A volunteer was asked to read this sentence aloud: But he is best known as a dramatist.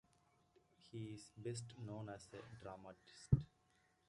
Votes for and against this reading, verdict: 0, 2, rejected